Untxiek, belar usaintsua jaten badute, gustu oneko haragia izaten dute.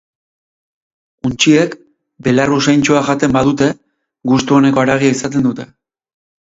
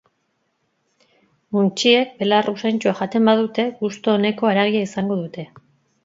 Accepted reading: first